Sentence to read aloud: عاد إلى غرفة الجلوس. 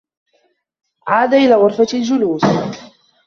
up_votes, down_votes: 1, 2